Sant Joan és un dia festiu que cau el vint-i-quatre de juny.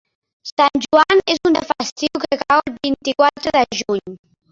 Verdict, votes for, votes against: rejected, 0, 2